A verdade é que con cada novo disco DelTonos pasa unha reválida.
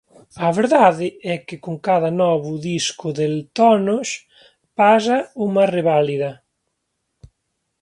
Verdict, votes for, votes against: rejected, 1, 2